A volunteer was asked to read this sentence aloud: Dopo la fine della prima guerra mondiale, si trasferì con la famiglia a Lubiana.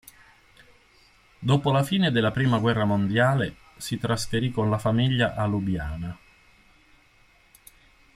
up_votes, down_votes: 2, 0